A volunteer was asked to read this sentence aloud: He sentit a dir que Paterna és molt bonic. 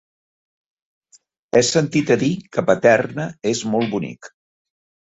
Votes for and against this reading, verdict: 4, 0, accepted